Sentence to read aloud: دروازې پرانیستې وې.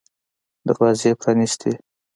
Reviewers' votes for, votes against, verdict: 2, 1, accepted